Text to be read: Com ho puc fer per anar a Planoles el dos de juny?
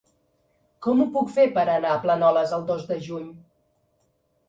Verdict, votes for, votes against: accepted, 2, 0